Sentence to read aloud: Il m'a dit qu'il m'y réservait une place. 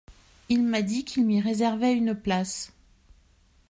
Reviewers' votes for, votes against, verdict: 2, 0, accepted